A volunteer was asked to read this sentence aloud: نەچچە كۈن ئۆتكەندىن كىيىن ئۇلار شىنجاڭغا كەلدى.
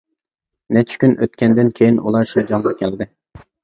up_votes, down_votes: 2, 1